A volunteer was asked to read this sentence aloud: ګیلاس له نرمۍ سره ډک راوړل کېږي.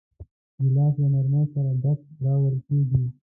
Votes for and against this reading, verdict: 1, 2, rejected